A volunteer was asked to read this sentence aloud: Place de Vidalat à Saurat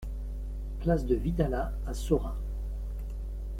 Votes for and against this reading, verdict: 2, 0, accepted